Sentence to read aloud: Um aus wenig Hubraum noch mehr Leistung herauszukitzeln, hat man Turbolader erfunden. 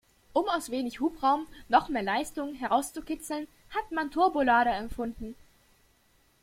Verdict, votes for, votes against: rejected, 0, 2